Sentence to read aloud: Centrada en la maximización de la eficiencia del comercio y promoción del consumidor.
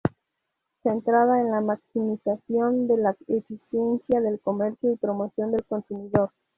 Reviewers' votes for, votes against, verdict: 2, 0, accepted